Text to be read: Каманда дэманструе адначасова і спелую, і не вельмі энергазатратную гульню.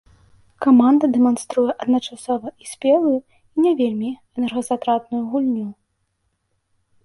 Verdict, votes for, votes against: accepted, 2, 0